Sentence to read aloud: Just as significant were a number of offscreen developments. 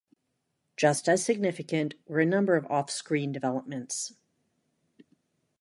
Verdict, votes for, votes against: accepted, 2, 0